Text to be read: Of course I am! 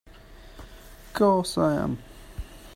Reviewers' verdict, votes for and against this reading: rejected, 0, 2